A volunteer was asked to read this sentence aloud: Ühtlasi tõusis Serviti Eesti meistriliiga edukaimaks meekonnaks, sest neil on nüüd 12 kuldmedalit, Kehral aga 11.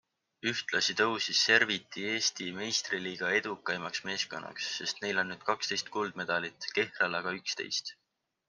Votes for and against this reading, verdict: 0, 2, rejected